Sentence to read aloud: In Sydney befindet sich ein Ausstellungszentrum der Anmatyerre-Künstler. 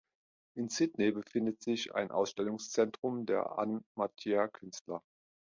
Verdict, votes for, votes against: rejected, 1, 2